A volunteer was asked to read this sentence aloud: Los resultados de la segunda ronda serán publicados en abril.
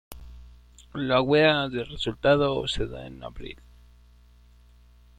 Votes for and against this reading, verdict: 0, 2, rejected